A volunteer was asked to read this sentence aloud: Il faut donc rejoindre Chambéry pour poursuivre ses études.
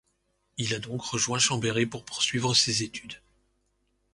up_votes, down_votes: 0, 2